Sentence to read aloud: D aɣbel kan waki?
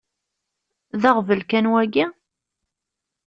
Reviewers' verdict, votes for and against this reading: accepted, 2, 0